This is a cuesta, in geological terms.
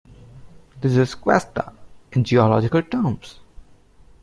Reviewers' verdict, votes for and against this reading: rejected, 0, 2